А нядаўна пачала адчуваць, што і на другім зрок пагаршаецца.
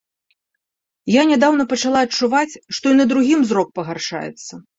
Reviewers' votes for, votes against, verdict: 1, 2, rejected